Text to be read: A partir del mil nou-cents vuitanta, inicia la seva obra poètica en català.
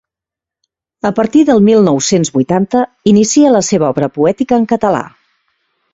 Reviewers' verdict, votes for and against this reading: accepted, 2, 0